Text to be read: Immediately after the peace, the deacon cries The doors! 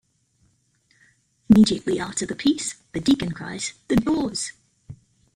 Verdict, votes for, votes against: accepted, 2, 0